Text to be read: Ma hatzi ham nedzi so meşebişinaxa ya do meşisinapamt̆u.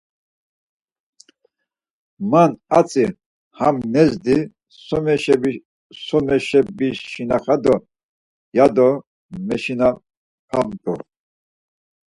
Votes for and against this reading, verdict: 0, 4, rejected